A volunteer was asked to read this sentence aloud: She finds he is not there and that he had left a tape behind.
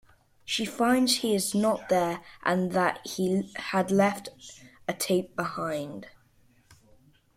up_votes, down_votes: 2, 0